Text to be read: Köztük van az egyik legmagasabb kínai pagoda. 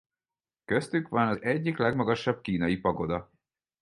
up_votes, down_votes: 4, 0